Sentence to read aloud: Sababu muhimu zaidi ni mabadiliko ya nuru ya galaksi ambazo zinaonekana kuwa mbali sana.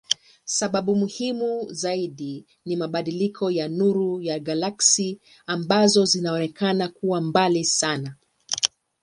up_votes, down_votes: 2, 1